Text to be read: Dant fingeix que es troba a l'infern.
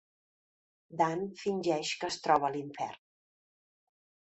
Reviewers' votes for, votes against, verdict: 2, 0, accepted